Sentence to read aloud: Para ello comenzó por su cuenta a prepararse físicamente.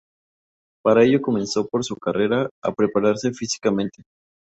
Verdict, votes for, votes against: rejected, 0, 2